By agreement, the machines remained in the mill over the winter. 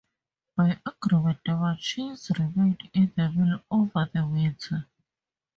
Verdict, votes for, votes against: rejected, 0, 4